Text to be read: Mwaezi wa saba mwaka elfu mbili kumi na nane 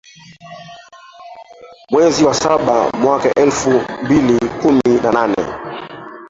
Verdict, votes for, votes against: rejected, 1, 2